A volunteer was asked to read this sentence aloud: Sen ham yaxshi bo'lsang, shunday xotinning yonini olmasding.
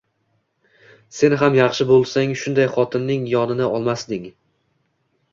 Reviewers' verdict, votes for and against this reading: accepted, 2, 0